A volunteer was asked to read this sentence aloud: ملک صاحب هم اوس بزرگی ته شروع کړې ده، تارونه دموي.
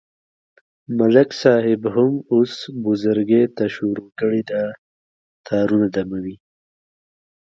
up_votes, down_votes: 1, 2